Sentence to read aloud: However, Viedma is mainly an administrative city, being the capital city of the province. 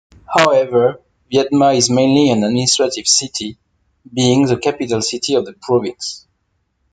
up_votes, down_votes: 2, 1